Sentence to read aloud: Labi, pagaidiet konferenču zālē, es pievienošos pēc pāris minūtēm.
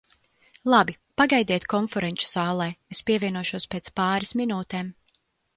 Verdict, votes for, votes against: accepted, 2, 0